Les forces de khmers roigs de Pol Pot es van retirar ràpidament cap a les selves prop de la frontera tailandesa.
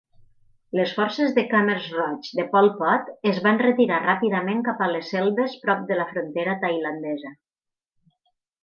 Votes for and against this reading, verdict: 4, 0, accepted